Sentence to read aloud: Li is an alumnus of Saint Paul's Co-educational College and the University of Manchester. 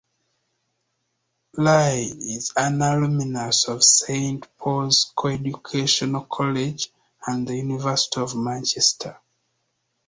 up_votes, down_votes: 2, 0